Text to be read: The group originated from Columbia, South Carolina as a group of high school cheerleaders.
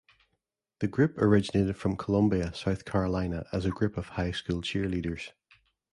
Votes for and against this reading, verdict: 2, 0, accepted